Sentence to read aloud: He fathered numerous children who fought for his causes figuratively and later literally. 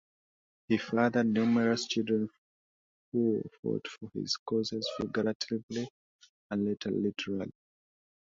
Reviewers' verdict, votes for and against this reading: rejected, 0, 2